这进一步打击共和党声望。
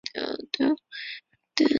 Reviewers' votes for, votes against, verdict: 0, 5, rejected